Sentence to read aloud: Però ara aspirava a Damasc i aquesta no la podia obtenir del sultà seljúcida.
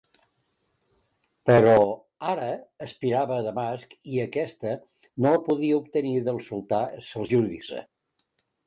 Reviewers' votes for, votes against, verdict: 1, 2, rejected